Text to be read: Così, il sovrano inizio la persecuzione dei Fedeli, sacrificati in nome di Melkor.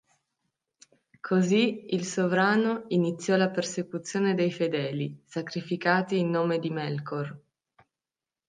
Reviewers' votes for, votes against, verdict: 0, 2, rejected